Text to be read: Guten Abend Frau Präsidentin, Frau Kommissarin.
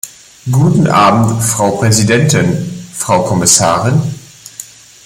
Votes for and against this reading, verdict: 2, 1, accepted